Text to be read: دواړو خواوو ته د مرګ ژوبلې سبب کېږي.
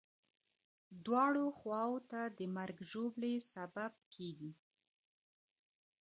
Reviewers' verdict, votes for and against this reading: rejected, 1, 2